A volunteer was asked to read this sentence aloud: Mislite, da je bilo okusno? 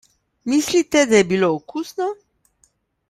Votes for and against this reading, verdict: 2, 0, accepted